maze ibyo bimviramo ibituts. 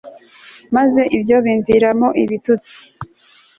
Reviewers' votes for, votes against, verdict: 3, 0, accepted